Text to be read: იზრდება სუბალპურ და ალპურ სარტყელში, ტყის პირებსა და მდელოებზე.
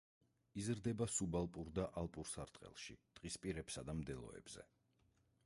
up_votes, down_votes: 0, 4